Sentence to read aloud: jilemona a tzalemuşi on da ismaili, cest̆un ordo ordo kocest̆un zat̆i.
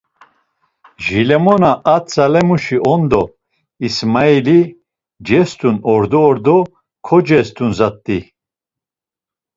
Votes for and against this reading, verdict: 2, 0, accepted